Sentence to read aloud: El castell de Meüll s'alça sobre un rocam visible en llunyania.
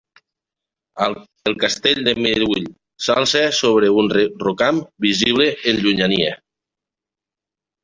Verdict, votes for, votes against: rejected, 0, 3